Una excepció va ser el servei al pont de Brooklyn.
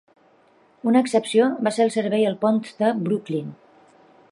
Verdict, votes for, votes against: rejected, 0, 2